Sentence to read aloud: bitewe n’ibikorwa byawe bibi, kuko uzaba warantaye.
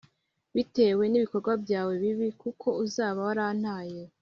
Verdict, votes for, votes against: accepted, 3, 1